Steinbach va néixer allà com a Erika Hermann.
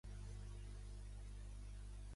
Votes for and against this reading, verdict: 1, 2, rejected